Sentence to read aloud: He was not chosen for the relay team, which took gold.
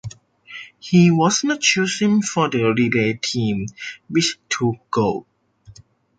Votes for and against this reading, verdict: 0, 2, rejected